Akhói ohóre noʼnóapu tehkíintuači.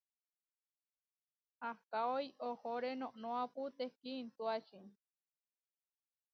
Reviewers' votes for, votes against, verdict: 1, 2, rejected